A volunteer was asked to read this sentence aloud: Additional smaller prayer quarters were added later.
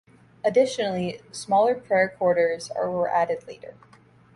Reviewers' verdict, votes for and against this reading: rejected, 1, 2